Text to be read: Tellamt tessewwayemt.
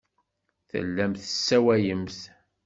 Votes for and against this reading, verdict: 1, 2, rejected